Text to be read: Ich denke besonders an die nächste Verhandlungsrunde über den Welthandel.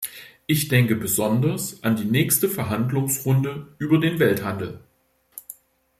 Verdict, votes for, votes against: accepted, 2, 0